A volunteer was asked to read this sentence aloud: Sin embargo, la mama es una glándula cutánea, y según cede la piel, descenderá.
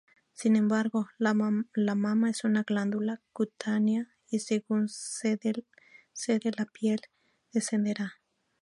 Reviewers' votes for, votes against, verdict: 2, 0, accepted